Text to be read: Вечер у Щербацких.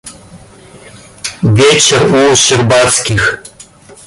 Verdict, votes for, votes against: rejected, 1, 2